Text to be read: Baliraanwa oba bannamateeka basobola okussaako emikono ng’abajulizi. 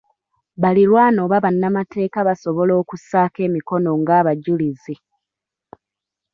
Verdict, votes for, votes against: rejected, 0, 2